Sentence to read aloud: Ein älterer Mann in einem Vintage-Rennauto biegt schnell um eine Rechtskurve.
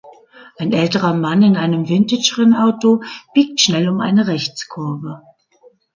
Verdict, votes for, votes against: accepted, 3, 0